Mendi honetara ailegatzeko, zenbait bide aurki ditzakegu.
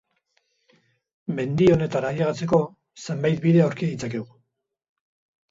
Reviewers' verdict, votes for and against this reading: accepted, 4, 0